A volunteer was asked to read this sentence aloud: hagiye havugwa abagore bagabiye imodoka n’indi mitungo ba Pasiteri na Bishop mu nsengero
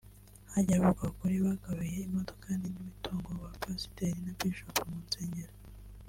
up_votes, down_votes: 0, 2